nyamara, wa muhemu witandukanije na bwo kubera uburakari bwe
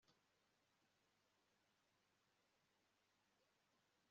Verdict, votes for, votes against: rejected, 1, 2